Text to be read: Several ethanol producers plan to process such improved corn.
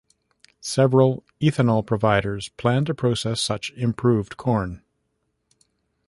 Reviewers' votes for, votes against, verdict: 0, 2, rejected